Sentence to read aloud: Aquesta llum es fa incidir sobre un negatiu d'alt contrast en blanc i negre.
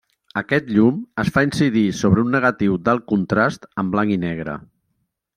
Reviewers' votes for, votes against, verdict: 1, 2, rejected